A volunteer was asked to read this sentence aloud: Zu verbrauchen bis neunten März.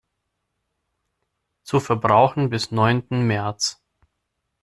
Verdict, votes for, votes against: accepted, 2, 0